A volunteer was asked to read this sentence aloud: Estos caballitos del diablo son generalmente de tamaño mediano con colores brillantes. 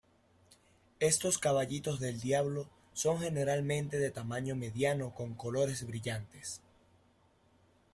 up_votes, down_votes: 1, 2